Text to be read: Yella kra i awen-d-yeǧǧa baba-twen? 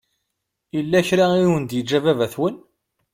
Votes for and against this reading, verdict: 2, 0, accepted